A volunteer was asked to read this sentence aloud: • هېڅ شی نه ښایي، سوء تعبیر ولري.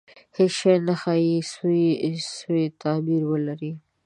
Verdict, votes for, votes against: rejected, 1, 2